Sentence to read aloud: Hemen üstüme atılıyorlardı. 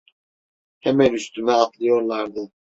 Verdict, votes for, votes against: rejected, 1, 2